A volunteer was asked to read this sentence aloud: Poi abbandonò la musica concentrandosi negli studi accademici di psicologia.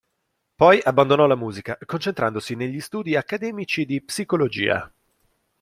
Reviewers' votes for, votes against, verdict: 2, 0, accepted